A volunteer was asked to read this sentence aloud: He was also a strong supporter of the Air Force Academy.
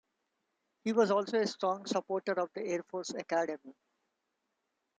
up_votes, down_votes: 2, 0